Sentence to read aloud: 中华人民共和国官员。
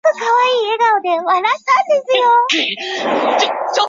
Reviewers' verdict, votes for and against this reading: rejected, 0, 3